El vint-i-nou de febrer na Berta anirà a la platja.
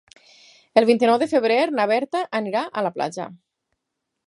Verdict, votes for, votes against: accepted, 10, 0